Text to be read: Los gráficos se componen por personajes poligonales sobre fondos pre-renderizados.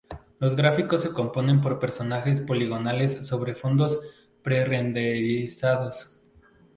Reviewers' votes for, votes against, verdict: 2, 0, accepted